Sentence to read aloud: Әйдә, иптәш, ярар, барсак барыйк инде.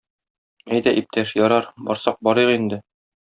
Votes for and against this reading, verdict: 2, 0, accepted